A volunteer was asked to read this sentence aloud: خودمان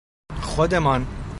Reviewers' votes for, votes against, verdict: 2, 0, accepted